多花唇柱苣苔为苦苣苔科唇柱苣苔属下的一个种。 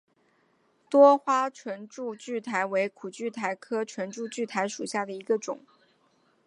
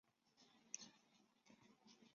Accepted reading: first